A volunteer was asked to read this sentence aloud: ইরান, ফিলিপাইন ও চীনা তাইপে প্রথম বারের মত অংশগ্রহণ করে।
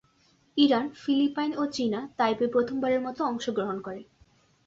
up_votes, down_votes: 2, 0